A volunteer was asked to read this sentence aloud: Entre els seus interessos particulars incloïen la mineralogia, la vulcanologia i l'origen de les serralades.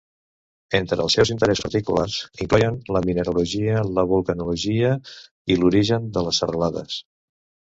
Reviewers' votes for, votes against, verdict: 0, 2, rejected